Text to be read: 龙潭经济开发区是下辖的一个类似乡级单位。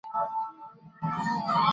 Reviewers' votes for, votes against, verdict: 0, 4, rejected